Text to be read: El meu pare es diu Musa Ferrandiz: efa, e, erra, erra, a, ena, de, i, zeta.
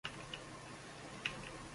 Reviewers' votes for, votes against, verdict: 0, 2, rejected